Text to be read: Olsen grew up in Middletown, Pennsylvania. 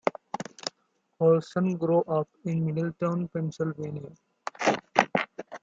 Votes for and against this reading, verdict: 2, 0, accepted